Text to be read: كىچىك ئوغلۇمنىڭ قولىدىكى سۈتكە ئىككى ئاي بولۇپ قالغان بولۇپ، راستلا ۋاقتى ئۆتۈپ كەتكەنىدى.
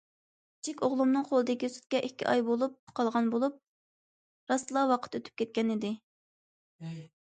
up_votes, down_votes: 1, 2